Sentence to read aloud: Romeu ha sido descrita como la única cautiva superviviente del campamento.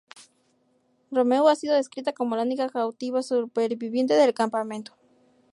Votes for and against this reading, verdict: 2, 0, accepted